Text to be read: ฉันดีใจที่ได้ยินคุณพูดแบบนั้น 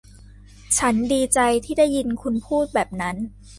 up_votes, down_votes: 2, 0